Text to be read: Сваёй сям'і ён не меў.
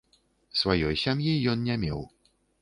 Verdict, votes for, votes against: rejected, 1, 3